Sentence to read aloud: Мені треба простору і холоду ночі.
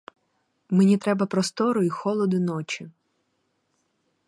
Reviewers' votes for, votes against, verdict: 4, 2, accepted